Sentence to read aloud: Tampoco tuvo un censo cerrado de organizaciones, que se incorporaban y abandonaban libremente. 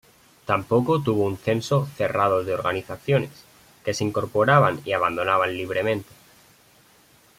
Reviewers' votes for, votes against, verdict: 2, 0, accepted